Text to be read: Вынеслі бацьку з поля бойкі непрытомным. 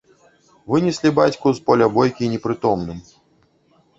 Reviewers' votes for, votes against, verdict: 1, 2, rejected